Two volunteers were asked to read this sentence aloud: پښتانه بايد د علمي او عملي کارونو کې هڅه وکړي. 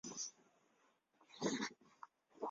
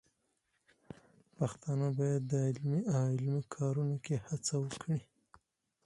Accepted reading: second